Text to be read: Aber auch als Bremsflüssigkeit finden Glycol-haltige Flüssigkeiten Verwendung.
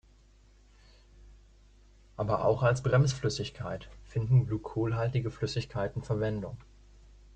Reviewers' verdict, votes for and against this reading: accepted, 2, 0